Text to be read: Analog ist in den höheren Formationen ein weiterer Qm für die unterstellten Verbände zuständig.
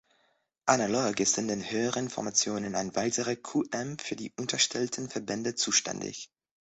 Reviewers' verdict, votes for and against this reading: accepted, 2, 1